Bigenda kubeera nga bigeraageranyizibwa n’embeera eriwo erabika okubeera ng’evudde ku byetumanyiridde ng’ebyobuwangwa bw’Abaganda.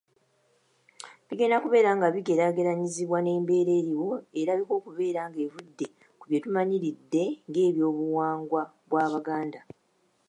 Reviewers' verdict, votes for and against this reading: accepted, 2, 0